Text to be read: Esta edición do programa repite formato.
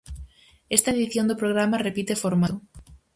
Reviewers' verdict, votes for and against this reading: rejected, 0, 4